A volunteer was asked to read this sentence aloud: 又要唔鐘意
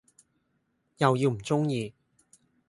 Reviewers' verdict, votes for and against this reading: rejected, 0, 2